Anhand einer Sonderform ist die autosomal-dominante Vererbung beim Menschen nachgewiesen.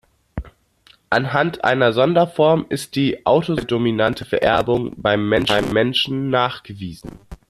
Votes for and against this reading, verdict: 0, 2, rejected